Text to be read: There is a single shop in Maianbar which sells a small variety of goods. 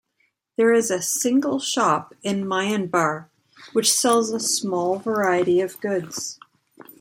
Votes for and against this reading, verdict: 2, 0, accepted